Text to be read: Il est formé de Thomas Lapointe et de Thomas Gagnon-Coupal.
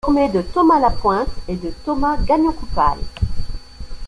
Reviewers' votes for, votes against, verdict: 1, 3, rejected